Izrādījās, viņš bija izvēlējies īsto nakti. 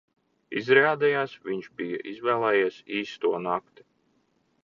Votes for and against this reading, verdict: 2, 1, accepted